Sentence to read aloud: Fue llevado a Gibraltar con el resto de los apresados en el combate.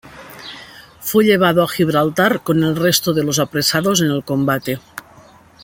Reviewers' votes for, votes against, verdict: 2, 0, accepted